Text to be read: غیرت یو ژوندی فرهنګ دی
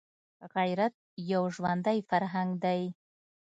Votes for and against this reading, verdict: 2, 0, accepted